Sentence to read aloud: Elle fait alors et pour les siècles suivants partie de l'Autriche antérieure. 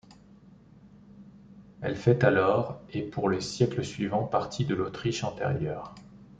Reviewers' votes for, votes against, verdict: 2, 0, accepted